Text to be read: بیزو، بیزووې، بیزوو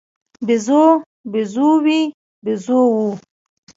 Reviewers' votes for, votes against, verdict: 1, 2, rejected